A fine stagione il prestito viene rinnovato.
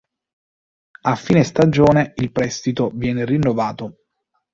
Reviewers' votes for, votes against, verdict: 1, 2, rejected